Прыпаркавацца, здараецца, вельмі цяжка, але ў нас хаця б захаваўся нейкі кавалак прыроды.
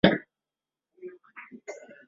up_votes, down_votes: 0, 2